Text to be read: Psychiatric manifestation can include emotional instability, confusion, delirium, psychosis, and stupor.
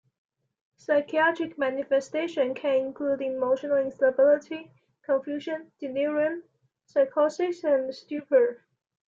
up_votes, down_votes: 2, 0